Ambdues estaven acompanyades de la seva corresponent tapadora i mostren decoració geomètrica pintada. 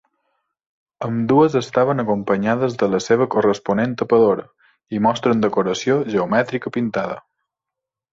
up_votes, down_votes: 2, 0